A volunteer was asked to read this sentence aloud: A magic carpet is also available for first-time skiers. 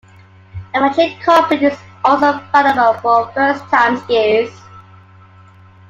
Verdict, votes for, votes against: accepted, 2, 1